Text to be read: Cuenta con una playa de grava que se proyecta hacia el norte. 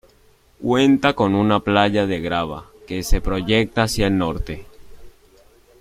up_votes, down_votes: 2, 0